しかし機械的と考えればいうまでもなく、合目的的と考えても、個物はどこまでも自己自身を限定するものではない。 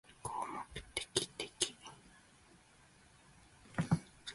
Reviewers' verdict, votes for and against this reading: rejected, 0, 3